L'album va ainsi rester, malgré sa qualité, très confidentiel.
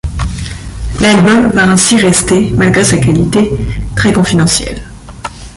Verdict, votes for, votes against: rejected, 1, 2